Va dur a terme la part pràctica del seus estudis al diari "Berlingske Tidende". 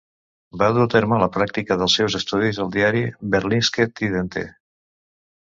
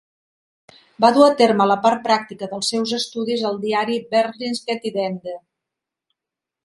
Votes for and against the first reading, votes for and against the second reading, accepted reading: 1, 2, 2, 0, second